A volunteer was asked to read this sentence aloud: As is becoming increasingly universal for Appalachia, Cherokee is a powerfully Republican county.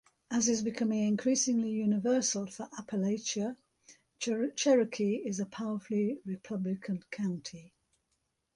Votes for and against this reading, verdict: 0, 2, rejected